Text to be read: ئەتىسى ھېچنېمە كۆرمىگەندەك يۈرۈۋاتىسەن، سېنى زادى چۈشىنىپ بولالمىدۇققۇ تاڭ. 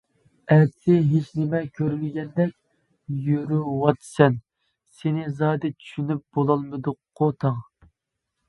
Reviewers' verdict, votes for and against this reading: rejected, 1, 2